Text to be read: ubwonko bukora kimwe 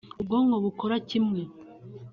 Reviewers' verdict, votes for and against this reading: accepted, 3, 0